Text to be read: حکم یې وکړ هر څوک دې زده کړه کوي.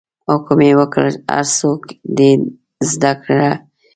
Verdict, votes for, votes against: accepted, 2, 1